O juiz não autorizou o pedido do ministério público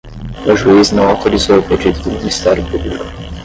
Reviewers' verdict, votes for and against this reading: rejected, 5, 10